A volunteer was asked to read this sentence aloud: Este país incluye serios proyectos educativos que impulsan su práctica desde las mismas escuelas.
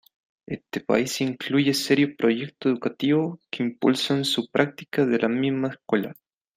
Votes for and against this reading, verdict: 1, 2, rejected